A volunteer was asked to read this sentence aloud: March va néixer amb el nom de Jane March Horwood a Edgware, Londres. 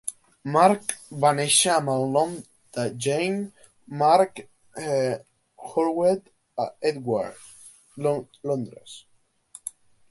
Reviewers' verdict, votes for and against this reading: rejected, 0, 2